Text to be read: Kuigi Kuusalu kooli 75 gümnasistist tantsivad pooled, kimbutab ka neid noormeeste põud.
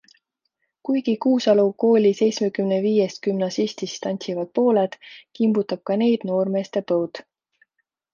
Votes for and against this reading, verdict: 0, 2, rejected